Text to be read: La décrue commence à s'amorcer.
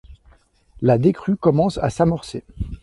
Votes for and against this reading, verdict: 2, 0, accepted